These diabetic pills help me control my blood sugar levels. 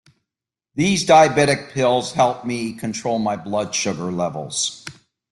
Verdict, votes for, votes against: accepted, 2, 0